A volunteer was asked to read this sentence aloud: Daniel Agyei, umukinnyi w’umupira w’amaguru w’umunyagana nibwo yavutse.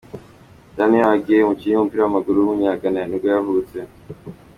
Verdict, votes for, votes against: accepted, 2, 0